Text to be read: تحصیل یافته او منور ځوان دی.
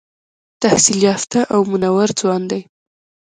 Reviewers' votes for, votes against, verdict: 2, 0, accepted